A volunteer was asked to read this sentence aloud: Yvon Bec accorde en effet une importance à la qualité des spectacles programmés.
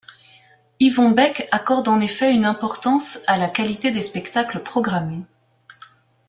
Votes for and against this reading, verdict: 2, 0, accepted